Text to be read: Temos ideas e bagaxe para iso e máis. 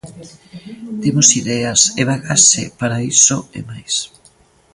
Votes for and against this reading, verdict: 0, 2, rejected